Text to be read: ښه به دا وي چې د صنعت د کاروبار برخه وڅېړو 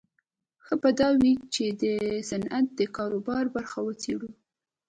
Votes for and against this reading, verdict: 2, 0, accepted